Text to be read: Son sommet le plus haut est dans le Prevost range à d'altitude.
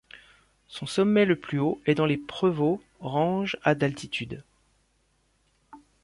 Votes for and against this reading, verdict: 1, 2, rejected